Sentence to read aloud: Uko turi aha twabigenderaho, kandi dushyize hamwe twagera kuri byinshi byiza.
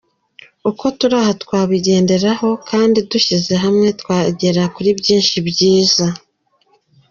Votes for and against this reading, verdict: 2, 0, accepted